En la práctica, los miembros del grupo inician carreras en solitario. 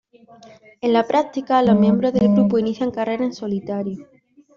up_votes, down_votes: 0, 2